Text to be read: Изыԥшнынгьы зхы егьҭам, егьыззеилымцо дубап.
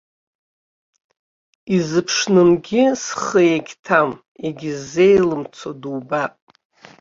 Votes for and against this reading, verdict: 2, 0, accepted